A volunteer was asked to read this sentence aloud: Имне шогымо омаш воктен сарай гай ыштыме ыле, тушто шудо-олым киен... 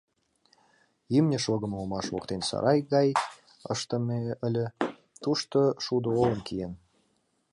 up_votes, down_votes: 1, 2